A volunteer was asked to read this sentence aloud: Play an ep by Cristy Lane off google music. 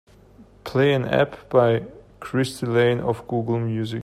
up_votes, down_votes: 2, 0